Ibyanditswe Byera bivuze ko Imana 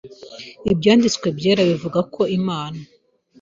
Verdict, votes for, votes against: rejected, 0, 2